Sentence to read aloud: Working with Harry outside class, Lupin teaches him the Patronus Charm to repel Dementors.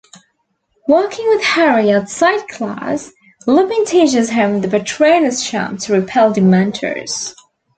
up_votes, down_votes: 2, 0